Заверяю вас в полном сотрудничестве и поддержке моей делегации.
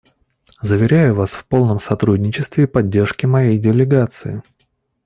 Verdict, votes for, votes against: rejected, 0, 2